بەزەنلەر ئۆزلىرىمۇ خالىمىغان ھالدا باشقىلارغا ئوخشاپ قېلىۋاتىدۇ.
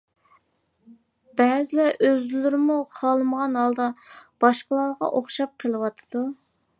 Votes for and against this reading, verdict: 0, 2, rejected